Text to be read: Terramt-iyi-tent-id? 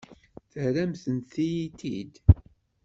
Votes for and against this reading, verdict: 1, 2, rejected